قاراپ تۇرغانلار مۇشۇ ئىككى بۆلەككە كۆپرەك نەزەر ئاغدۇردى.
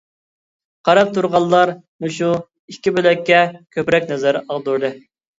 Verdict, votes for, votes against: accepted, 2, 1